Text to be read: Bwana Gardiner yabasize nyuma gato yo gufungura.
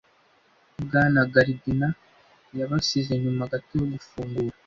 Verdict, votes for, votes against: accepted, 2, 0